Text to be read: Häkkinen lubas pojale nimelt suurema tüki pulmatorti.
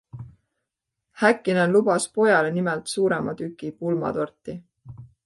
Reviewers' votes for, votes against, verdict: 2, 0, accepted